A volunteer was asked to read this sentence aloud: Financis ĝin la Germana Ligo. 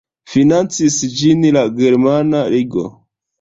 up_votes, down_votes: 0, 2